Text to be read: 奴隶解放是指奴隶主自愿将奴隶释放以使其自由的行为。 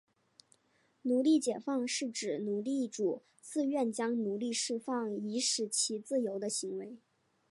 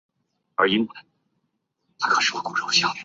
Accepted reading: first